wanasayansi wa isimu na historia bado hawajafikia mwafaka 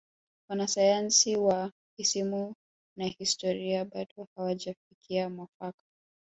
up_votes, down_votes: 2, 0